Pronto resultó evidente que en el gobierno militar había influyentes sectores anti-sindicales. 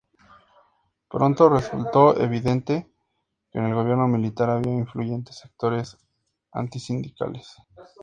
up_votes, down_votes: 4, 0